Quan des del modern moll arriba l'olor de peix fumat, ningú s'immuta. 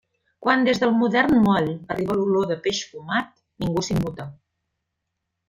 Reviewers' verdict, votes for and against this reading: accepted, 2, 0